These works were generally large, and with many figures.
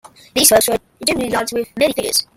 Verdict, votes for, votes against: rejected, 1, 2